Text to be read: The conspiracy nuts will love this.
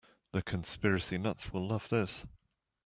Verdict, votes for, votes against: accepted, 2, 0